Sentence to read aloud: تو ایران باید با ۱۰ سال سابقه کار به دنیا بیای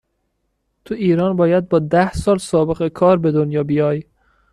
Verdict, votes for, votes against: rejected, 0, 2